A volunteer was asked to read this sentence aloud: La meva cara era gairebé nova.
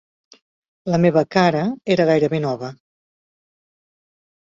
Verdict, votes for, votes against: accepted, 4, 0